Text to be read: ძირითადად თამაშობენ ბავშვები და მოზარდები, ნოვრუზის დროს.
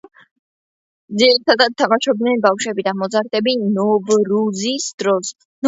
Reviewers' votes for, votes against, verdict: 2, 1, accepted